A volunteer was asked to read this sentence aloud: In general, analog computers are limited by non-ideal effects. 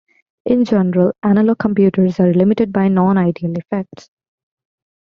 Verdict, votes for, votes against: accepted, 2, 1